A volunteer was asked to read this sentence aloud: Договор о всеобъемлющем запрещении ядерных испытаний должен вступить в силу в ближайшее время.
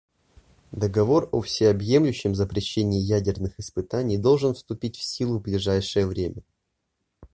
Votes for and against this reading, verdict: 2, 0, accepted